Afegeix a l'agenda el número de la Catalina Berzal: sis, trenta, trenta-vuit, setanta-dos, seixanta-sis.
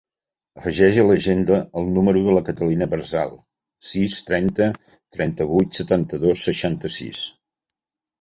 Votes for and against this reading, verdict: 2, 1, accepted